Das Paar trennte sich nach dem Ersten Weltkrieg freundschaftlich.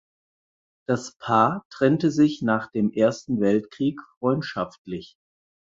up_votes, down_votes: 4, 0